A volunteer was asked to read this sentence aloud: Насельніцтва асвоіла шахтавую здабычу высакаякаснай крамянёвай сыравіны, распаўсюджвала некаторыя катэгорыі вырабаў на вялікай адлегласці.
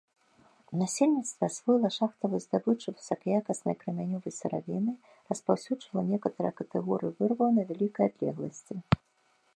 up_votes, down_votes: 0, 2